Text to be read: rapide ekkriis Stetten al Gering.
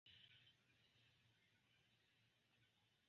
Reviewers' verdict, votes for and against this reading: rejected, 1, 2